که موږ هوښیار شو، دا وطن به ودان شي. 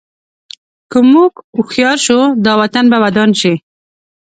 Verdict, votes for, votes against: accepted, 2, 0